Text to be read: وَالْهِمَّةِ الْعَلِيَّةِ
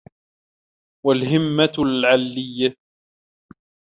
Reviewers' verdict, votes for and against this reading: rejected, 1, 2